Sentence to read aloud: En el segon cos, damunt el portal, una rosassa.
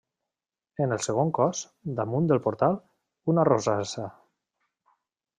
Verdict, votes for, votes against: rejected, 0, 2